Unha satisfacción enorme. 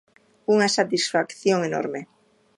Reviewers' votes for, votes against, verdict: 2, 0, accepted